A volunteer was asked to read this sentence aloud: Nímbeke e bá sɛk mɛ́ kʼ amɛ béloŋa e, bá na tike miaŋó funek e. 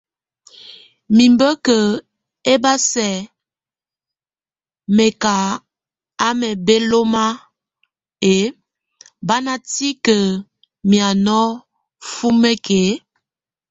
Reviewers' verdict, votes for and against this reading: accepted, 2, 0